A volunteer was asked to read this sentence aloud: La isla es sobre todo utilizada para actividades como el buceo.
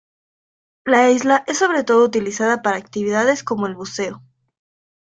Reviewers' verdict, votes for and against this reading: accepted, 2, 0